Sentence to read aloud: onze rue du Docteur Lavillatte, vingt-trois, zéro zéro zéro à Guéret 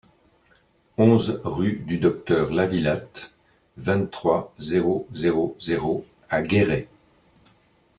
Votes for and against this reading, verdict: 2, 0, accepted